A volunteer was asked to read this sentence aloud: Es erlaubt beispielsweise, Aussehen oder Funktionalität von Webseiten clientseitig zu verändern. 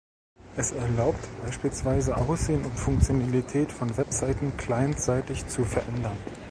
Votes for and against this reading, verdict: 2, 1, accepted